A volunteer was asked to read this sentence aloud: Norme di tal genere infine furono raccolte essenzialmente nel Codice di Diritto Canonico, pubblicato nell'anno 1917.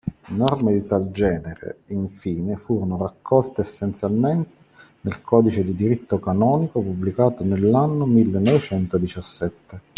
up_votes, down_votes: 0, 2